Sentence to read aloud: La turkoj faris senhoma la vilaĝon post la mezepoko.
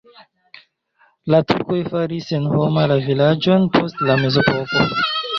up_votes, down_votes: 2, 0